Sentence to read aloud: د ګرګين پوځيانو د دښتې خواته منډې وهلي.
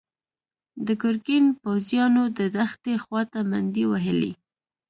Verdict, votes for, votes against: accepted, 2, 1